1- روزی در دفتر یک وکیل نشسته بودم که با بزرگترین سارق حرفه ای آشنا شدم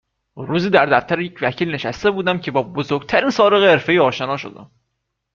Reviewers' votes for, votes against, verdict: 0, 2, rejected